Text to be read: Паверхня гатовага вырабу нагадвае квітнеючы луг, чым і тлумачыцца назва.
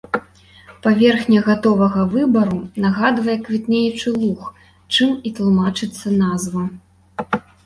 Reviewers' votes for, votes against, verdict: 1, 2, rejected